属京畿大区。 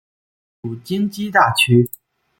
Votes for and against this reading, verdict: 7, 0, accepted